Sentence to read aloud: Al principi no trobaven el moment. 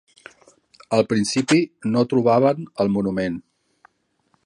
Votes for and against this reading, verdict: 1, 2, rejected